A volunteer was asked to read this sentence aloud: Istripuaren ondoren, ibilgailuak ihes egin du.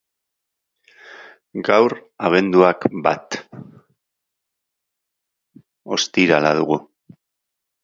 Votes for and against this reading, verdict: 0, 2, rejected